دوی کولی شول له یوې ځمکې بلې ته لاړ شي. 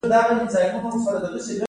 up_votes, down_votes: 1, 2